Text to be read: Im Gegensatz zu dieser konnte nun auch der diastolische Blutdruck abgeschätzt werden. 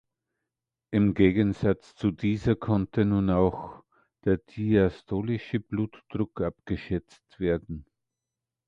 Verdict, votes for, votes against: accepted, 2, 0